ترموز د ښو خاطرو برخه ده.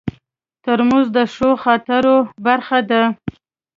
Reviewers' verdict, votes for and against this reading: rejected, 0, 2